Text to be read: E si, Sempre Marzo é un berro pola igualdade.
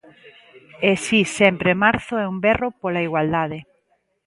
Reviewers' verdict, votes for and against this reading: accepted, 2, 0